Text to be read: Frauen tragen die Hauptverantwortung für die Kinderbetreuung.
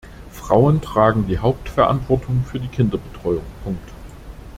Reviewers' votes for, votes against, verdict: 0, 2, rejected